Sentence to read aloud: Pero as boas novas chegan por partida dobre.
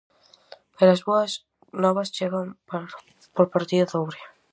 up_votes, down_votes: 0, 4